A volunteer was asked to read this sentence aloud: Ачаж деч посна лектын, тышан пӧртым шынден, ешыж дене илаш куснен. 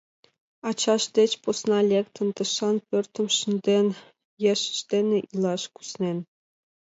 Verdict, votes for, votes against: accepted, 2, 0